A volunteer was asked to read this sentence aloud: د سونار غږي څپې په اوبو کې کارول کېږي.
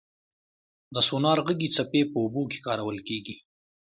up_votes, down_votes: 2, 0